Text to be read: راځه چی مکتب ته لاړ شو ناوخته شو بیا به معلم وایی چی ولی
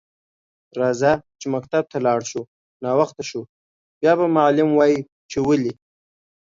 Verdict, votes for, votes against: accepted, 2, 0